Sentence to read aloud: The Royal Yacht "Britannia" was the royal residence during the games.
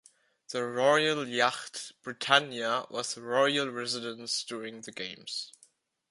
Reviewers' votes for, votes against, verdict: 0, 2, rejected